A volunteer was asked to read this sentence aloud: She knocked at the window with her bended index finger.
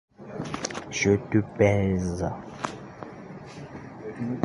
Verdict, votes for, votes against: rejected, 0, 2